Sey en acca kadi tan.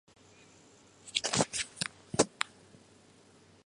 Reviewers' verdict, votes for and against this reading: rejected, 0, 2